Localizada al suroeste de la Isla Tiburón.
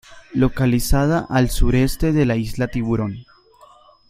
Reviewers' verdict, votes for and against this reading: rejected, 1, 2